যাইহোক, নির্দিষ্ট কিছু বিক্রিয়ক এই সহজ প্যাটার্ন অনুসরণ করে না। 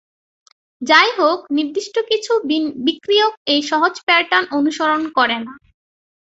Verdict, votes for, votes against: rejected, 3, 3